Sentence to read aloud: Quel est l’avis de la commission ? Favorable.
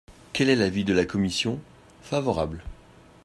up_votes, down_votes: 2, 0